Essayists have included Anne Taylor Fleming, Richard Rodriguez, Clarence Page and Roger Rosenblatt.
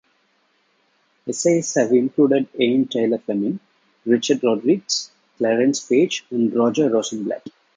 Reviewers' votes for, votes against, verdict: 1, 2, rejected